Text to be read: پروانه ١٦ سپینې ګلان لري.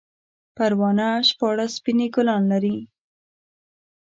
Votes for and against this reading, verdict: 0, 2, rejected